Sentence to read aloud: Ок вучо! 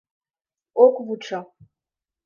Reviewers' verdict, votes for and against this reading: accepted, 2, 0